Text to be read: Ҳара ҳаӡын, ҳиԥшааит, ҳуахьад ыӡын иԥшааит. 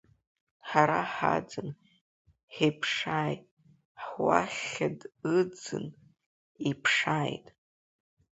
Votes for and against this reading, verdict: 2, 4, rejected